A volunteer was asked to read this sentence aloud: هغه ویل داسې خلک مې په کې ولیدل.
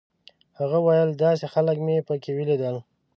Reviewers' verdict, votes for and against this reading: accepted, 2, 0